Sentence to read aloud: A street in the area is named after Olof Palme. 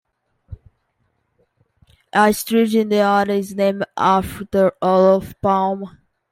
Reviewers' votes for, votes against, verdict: 0, 2, rejected